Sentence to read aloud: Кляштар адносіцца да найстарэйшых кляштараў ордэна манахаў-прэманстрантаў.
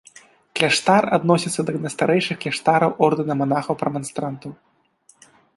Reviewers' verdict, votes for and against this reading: accepted, 2, 1